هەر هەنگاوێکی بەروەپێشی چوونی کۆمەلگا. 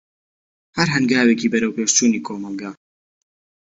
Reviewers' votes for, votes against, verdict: 2, 1, accepted